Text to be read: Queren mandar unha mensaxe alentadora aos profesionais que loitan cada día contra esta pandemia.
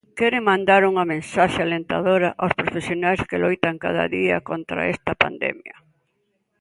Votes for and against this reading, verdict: 2, 0, accepted